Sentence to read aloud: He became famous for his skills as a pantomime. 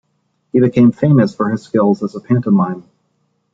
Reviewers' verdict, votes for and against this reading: accepted, 2, 0